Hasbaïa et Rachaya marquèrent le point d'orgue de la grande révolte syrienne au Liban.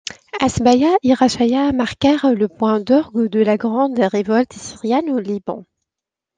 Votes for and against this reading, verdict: 2, 0, accepted